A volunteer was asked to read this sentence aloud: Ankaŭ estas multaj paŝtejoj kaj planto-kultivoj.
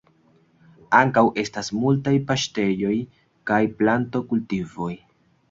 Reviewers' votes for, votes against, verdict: 2, 0, accepted